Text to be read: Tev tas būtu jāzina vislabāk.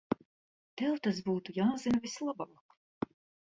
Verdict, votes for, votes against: accepted, 2, 0